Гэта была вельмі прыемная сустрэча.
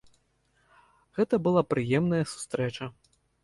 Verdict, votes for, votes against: rejected, 1, 2